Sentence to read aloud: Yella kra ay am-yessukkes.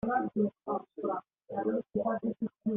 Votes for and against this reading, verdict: 0, 2, rejected